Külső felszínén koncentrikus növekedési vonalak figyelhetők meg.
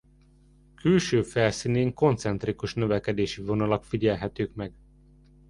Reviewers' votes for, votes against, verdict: 2, 0, accepted